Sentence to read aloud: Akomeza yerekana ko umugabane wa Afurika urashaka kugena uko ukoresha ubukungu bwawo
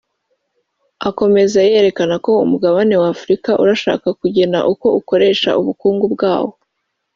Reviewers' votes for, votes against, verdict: 4, 0, accepted